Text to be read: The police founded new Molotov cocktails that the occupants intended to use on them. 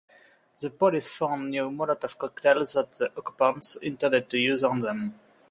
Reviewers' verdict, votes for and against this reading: rejected, 0, 2